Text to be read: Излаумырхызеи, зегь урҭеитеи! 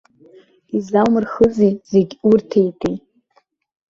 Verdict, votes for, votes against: accepted, 2, 1